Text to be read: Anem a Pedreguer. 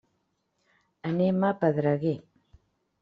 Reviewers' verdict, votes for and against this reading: accepted, 3, 0